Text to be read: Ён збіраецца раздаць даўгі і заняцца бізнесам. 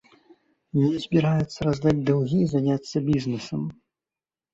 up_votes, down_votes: 2, 0